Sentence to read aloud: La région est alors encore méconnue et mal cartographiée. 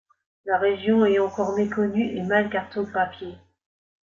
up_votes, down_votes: 1, 2